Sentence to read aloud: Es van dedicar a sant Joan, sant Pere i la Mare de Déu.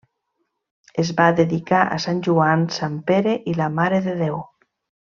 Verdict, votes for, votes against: rejected, 0, 2